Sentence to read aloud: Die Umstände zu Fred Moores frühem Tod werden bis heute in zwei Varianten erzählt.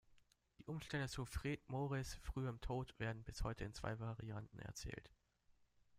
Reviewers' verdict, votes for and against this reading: rejected, 0, 2